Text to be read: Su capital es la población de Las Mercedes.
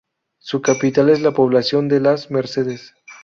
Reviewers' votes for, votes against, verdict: 2, 0, accepted